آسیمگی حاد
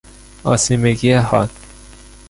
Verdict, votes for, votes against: accepted, 2, 0